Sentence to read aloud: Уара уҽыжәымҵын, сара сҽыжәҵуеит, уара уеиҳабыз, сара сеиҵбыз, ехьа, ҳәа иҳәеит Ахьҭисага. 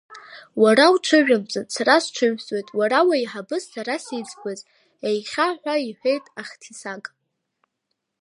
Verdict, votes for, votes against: rejected, 0, 2